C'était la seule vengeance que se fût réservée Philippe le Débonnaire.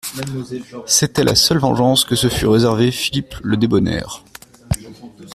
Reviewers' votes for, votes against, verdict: 0, 2, rejected